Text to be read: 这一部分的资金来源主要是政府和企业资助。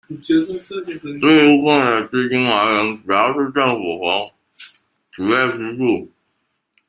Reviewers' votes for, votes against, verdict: 0, 2, rejected